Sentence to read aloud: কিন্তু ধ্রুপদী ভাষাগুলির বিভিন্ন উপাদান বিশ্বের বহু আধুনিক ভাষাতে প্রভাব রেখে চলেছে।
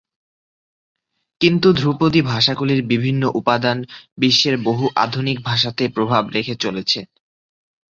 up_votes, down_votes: 4, 0